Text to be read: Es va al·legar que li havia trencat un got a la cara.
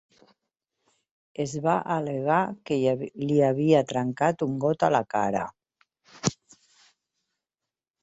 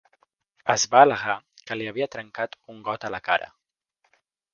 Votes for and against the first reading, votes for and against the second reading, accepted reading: 2, 5, 2, 0, second